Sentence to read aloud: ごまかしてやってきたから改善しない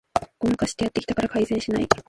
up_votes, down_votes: 0, 2